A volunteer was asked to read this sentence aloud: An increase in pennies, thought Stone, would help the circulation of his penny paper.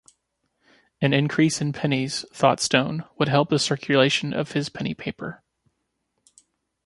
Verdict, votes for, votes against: accepted, 2, 0